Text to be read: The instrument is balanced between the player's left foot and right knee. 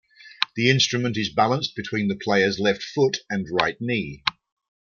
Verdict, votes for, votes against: rejected, 0, 2